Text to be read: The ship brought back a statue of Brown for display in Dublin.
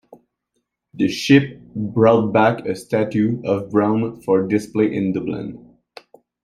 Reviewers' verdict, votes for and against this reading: accepted, 2, 0